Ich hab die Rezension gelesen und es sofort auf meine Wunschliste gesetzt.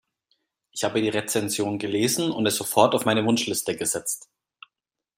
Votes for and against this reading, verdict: 2, 0, accepted